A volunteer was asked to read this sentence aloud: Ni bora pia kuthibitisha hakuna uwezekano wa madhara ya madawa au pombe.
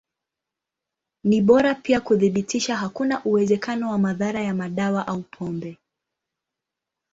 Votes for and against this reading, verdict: 1, 2, rejected